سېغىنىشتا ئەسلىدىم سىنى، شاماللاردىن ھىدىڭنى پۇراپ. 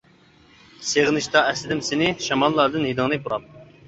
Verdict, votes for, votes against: accepted, 2, 0